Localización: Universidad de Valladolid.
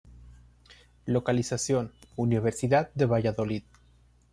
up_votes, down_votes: 2, 0